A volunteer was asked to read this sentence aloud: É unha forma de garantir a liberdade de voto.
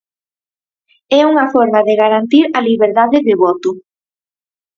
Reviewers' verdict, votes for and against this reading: accepted, 4, 0